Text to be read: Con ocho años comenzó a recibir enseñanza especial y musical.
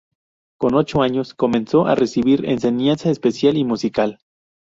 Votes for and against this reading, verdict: 0, 2, rejected